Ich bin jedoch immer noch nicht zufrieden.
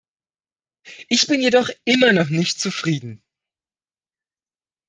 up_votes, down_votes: 2, 0